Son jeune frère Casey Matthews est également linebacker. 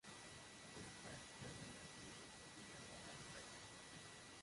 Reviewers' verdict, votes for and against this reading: rejected, 0, 2